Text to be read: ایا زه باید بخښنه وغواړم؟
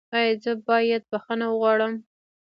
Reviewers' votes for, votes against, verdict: 1, 2, rejected